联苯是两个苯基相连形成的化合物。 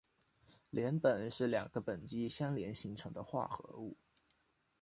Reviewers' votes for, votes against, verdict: 2, 0, accepted